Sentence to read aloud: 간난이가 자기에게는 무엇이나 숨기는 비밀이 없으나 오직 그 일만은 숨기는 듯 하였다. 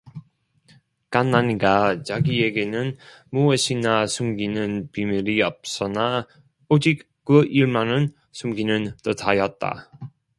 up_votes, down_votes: 0, 2